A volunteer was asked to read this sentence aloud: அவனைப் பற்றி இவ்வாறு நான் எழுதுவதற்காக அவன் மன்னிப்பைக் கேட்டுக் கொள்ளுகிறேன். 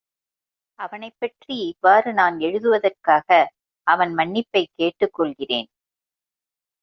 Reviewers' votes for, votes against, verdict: 2, 0, accepted